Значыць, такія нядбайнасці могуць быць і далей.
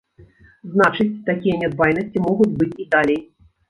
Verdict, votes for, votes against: rejected, 0, 2